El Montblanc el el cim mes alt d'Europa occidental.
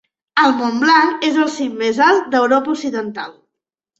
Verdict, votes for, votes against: accepted, 3, 1